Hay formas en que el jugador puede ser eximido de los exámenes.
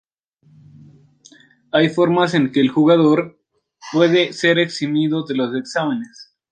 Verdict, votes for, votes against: accepted, 3, 1